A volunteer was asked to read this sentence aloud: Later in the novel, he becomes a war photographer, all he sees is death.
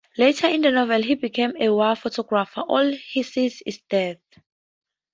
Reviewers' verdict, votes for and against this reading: rejected, 0, 2